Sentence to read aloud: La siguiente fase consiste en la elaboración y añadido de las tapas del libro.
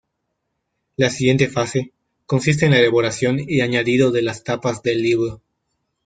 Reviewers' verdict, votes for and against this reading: accepted, 2, 1